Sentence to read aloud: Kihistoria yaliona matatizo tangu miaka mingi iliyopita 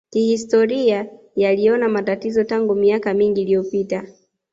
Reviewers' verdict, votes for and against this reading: accepted, 2, 1